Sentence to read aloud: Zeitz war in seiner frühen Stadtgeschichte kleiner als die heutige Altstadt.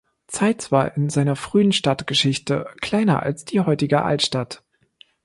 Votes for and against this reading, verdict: 2, 0, accepted